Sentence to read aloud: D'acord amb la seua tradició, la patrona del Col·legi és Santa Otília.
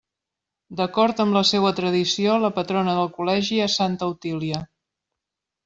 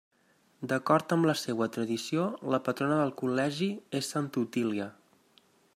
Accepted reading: second